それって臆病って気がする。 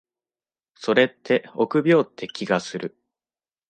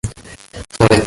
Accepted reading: first